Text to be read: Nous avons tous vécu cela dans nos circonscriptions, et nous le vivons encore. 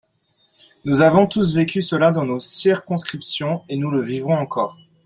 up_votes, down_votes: 6, 8